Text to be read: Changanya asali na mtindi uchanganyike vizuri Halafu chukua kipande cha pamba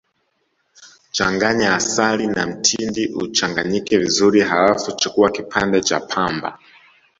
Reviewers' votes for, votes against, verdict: 2, 0, accepted